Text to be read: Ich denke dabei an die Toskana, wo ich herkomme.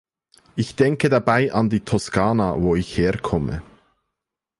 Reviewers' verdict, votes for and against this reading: accepted, 2, 0